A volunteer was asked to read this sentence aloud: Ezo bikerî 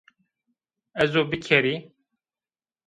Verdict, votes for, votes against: rejected, 1, 2